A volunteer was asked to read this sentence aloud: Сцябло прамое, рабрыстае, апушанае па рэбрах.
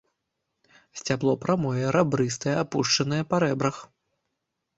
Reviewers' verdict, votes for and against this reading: accepted, 3, 0